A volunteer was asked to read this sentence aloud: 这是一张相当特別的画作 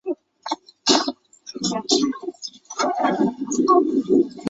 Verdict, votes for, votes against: rejected, 2, 4